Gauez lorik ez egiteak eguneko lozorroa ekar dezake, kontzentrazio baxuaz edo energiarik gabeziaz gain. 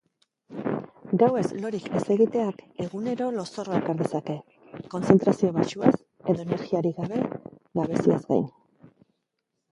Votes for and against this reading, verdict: 2, 2, rejected